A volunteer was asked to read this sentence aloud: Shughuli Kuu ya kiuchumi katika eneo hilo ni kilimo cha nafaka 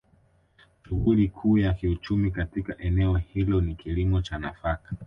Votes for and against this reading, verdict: 2, 1, accepted